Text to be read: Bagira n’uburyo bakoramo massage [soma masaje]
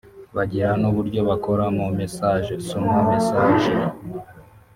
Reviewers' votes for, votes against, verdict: 1, 2, rejected